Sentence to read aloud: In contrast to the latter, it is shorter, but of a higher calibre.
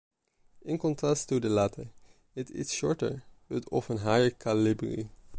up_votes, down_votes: 2, 1